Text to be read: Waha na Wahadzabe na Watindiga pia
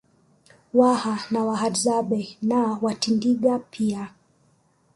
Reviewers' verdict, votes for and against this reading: accepted, 2, 1